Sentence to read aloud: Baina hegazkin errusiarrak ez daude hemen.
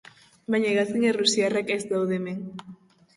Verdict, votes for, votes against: accepted, 2, 0